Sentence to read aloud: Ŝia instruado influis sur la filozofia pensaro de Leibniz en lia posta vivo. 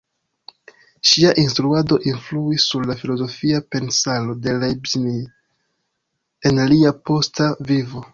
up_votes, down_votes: 0, 2